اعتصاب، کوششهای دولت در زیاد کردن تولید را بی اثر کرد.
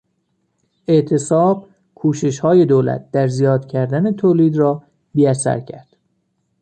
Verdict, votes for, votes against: accepted, 2, 0